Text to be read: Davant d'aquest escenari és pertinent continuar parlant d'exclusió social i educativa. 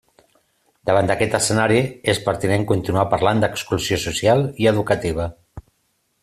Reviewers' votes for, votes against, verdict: 2, 0, accepted